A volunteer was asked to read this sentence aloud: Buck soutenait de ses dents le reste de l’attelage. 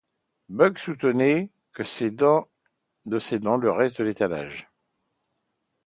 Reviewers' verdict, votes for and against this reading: rejected, 0, 2